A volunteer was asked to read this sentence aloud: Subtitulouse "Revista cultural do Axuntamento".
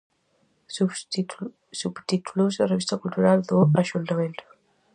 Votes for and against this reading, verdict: 0, 2, rejected